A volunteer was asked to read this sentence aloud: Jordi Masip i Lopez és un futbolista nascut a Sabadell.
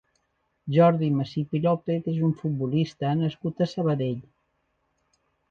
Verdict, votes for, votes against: accepted, 3, 1